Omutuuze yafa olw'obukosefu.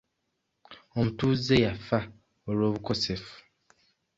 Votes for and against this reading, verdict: 2, 0, accepted